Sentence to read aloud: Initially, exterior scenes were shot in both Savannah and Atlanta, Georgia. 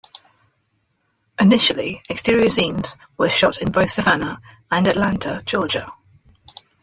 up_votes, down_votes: 2, 1